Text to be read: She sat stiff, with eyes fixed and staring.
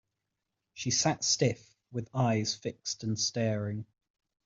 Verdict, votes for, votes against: accepted, 2, 0